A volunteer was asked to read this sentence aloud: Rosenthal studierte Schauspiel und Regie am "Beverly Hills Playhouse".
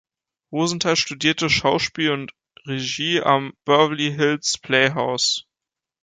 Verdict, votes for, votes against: rejected, 0, 2